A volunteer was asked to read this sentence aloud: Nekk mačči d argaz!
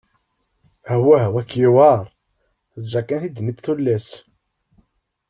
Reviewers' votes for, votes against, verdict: 0, 2, rejected